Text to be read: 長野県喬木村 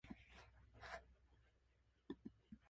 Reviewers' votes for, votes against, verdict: 4, 10, rejected